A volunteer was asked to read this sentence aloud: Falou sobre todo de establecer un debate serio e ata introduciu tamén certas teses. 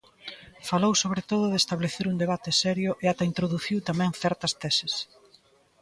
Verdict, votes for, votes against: rejected, 1, 2